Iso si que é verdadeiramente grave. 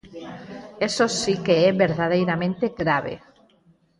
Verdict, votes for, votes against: rejected, 0, 4